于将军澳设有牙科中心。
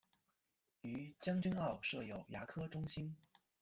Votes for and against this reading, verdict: 1, 2, rejected